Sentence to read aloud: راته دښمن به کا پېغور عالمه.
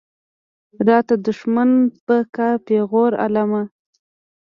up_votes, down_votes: 1, 2